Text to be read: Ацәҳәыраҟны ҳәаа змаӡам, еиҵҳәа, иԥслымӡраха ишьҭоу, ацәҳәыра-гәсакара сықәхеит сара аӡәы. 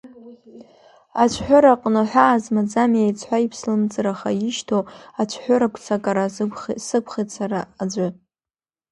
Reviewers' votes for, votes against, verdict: 3, 2, accepted